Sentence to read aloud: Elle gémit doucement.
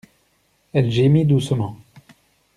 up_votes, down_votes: 2, 0